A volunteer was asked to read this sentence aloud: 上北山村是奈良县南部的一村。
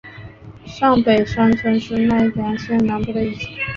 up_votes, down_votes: 2, 0